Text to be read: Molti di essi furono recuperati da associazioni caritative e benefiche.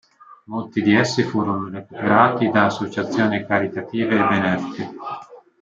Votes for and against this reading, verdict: 2, 1, accepted